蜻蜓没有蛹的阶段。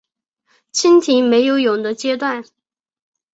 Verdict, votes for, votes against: accepted, 2, 0